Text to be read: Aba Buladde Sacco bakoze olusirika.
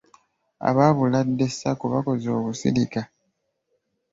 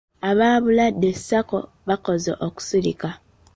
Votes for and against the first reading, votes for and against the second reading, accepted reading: 2, 0, 1, 2, first